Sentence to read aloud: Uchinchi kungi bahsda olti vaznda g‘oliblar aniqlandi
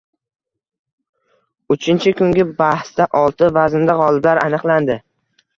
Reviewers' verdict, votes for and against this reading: accepted, 2, 0